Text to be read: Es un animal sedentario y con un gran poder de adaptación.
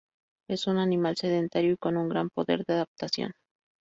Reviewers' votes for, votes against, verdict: 0, 2, rejected